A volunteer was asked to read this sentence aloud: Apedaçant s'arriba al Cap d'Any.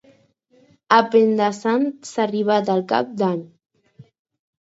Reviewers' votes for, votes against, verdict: 2, 4, rejected